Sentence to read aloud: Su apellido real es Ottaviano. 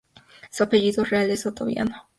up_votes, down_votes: 0, 2